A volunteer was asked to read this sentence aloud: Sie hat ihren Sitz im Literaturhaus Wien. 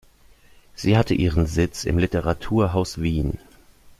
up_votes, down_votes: 0, 2